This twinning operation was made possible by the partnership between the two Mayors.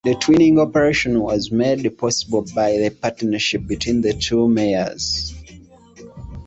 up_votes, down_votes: 2, 1